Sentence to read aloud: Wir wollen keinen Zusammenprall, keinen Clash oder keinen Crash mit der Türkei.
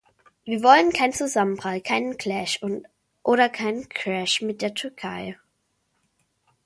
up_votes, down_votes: 0, 2